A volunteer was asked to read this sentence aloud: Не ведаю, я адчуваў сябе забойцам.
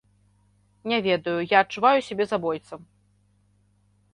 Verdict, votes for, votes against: rejected, 1, 2